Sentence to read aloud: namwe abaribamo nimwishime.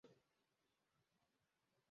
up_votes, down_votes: 0, 2